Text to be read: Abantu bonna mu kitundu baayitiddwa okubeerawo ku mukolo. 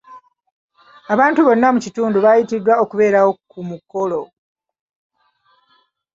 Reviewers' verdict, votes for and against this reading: accepted, 2, 0